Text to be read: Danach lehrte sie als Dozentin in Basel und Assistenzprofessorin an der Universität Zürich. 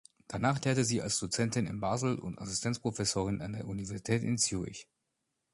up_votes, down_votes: 1, 2